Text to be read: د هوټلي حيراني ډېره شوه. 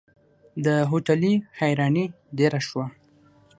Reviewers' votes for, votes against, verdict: 6, 0, accepted